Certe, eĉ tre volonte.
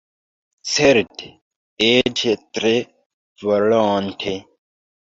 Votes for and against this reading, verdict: 0, 2, rejected